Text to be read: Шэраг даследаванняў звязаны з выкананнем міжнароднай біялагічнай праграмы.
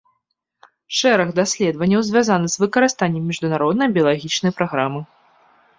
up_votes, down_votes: 0, 2